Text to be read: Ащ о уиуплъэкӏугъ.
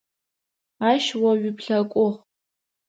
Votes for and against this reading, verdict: 2, 0, accepted